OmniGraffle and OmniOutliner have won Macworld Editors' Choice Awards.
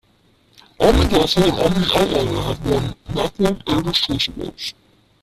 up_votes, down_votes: 0, 2